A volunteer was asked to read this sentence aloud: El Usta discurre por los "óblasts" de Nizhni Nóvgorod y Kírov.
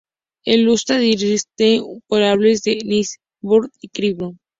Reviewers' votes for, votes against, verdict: 0, 2, rejected